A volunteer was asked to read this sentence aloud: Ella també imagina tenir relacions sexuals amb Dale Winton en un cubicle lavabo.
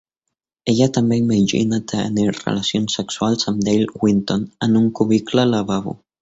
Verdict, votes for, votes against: rejected, 0, 2